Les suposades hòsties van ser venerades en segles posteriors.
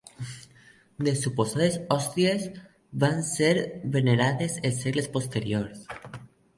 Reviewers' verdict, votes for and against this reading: accepted, 2, 0